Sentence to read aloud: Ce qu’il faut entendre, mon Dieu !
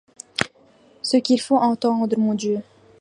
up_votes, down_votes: 2, 0